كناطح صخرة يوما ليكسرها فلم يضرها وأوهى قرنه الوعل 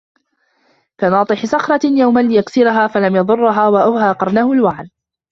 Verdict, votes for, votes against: accepted, 2, 0